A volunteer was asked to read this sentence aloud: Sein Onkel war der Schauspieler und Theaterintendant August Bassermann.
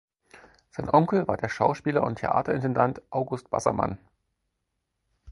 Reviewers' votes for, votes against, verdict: 4, 0, accepted